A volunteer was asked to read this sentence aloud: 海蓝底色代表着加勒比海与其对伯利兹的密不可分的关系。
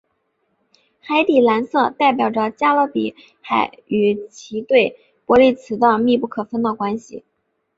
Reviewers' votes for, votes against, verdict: 2, 2, rejected